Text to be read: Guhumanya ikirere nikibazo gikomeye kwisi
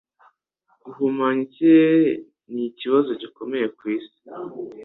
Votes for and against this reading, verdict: 2, 0, accepted